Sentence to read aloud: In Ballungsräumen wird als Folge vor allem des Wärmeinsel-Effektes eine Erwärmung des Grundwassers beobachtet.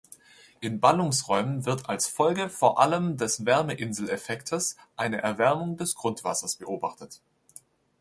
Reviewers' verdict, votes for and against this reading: accepted, 2, 0